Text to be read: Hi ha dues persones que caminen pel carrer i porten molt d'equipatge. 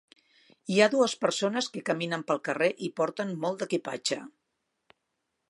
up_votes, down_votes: 3, 0